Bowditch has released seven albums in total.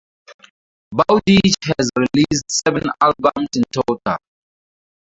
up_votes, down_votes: 0, 2